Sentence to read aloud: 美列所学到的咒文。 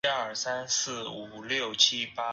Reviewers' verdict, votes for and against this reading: rejected, 0, 2